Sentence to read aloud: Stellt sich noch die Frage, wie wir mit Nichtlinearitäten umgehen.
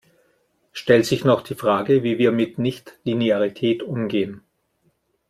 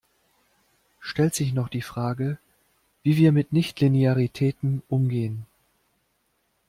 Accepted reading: second